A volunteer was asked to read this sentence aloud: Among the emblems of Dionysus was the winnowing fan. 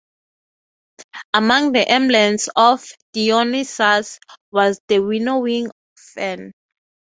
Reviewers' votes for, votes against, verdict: 3, 3, rejected